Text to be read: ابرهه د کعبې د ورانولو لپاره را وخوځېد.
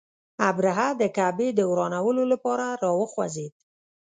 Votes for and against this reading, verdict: 2, 0, accepted